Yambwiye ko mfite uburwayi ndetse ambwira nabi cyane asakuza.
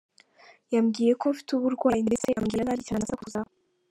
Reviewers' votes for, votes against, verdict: 1, 2, rejected